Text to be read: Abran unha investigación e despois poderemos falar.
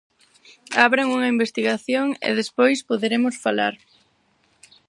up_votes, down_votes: 4, 0